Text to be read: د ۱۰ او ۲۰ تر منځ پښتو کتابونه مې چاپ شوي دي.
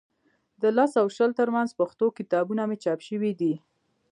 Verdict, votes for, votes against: rejected, 0, 2